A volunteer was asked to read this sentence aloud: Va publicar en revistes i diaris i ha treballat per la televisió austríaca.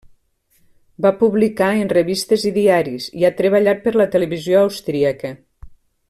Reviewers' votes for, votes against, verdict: 3, 0, accepted